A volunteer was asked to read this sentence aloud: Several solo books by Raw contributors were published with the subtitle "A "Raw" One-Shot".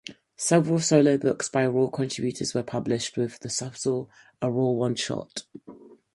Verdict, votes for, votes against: rejected, 0, 4